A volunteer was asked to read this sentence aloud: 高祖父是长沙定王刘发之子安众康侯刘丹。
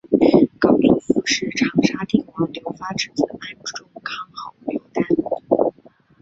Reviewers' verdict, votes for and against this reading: rejected, 1, 3